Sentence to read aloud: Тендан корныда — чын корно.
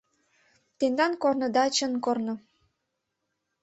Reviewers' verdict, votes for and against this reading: accepted, 2, 0